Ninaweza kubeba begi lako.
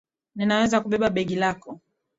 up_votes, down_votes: 2, 0